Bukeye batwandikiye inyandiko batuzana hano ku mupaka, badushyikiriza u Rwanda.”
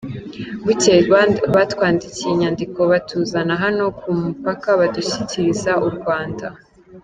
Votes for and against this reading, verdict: 2, 0, accepted